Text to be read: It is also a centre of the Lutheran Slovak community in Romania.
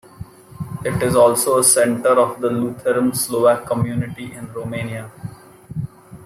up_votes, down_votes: 2, 0